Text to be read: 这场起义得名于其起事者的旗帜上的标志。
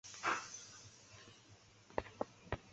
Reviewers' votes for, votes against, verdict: 1, 3, rejected